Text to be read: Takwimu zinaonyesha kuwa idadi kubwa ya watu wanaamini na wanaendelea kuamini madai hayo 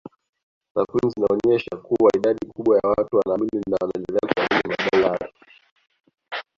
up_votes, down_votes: 0, 2